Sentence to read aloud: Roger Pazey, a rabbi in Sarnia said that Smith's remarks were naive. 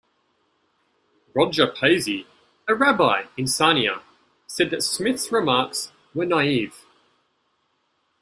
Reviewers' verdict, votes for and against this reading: rejected, 1, 2